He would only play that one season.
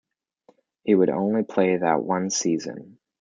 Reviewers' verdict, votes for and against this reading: accepted, 2, 0